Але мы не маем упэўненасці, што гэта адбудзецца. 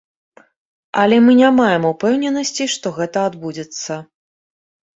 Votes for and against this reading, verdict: 2, 0, accepted